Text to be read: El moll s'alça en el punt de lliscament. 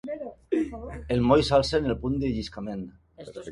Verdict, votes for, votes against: accepted, 2, 0